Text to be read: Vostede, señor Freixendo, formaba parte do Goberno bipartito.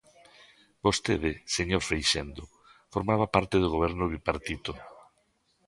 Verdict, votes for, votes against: rejected, 1, 2